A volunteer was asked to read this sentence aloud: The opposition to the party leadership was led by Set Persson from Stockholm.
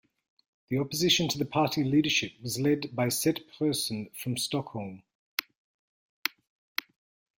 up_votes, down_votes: 1, 2